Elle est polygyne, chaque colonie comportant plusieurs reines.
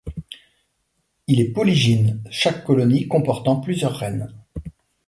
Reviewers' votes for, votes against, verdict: 1, 2, rejected